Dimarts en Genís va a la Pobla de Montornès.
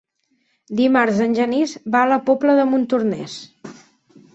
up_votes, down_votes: 6, 0